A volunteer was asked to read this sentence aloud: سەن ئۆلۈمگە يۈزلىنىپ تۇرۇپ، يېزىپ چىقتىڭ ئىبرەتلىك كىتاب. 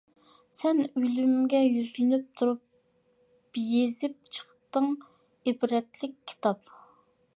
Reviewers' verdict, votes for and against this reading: accepted, 2, 0